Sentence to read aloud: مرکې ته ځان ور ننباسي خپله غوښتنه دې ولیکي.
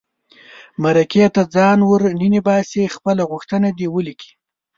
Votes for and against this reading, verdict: 2, 0, accepted